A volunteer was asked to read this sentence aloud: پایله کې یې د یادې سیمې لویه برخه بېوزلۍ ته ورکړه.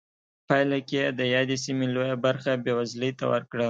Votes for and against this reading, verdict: 2, 0, accepted